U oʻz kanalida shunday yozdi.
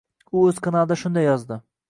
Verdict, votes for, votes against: accepted, 2, 0